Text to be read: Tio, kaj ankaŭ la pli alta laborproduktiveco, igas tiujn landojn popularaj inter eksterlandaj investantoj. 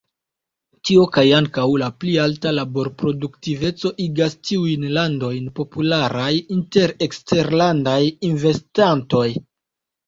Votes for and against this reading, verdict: 1, 2, rejected